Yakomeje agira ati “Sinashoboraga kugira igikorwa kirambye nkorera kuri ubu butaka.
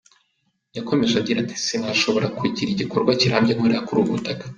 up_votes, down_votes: 2, 1